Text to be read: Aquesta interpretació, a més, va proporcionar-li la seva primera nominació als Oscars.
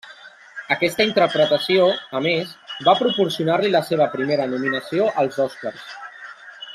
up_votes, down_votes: 2, 1